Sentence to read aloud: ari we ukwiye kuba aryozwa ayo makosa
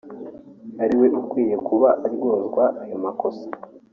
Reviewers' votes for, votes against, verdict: 2, 1, accepted